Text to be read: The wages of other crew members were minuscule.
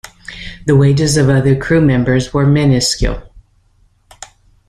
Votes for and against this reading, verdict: 2, 0, accepted